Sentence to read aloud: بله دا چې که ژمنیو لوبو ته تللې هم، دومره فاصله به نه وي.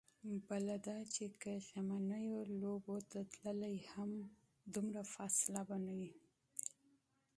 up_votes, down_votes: 1, 2